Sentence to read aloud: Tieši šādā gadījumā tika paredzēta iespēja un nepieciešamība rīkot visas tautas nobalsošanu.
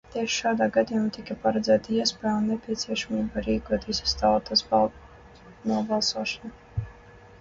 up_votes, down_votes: 0, 2